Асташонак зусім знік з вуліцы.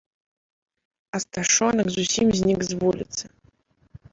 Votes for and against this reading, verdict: 2, 1, accepted